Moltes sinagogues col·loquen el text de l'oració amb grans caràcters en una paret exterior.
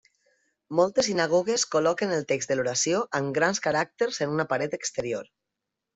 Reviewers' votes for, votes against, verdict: 2, 0, accepted